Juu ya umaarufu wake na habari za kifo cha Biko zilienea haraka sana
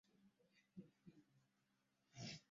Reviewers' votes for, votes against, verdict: 0, 2, rejected